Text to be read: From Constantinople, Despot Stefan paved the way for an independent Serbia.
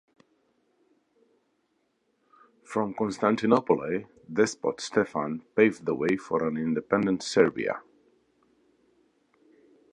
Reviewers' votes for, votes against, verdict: 1, 2, rejected